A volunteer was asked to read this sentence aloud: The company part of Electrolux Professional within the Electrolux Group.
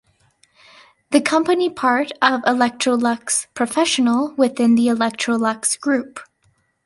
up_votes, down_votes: 2, 0